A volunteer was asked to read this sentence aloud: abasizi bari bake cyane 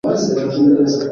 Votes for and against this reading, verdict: 1, 2, rejected